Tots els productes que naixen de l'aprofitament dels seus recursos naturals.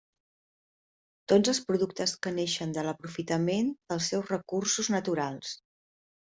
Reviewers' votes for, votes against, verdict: 2, 0, accepted